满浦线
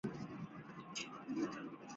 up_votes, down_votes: 5, 2